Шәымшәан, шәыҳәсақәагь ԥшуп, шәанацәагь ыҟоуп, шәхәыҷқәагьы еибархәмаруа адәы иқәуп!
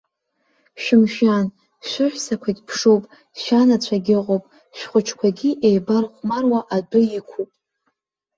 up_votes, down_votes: 2, 0